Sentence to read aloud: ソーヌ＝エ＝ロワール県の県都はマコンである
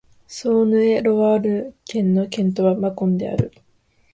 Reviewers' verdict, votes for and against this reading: rejected, 1, 2